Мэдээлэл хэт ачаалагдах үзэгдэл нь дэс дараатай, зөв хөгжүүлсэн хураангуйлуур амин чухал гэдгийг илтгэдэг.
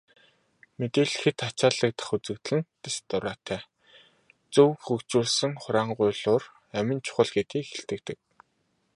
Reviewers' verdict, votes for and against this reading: accepted, 3, 0